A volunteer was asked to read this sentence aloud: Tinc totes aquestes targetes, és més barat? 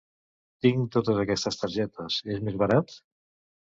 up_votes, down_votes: 2, 0